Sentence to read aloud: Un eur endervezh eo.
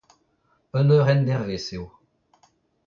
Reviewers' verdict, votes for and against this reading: rejected, 0, 2